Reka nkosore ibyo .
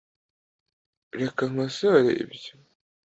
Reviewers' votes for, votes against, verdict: 2, 0, accepted